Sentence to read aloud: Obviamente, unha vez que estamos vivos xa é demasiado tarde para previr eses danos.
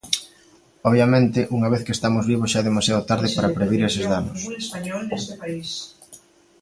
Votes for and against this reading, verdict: 1, 2, rejected